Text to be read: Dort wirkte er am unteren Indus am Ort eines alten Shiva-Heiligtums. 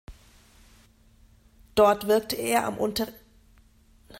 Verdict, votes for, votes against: rejected, 0, 2